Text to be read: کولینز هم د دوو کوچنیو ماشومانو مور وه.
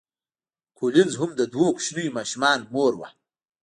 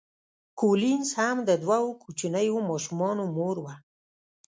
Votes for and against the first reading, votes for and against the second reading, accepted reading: 3, 1, 0, 2, first